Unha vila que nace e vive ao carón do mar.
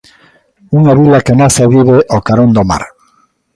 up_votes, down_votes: 2, 0